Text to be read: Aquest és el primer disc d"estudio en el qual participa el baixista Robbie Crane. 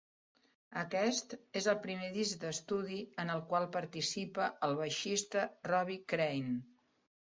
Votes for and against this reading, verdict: 2, 0, accepted